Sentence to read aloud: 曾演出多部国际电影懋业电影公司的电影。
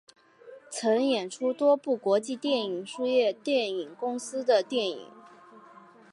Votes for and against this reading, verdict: 0, 2, rejected